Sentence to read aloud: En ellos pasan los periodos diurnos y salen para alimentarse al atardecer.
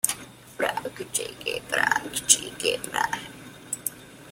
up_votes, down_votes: 0, 2